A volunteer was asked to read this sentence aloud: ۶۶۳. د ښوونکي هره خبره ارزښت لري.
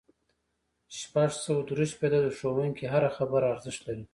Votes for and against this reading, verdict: 0, 2, rejected